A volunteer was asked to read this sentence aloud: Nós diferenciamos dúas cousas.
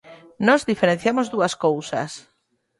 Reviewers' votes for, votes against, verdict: 0, 2, rejected